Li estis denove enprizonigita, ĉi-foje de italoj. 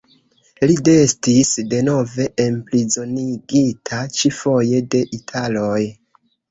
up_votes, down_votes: 0, 3